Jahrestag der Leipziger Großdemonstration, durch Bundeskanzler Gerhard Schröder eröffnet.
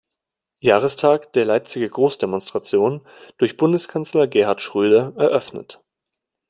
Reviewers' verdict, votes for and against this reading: accepted, 2, 0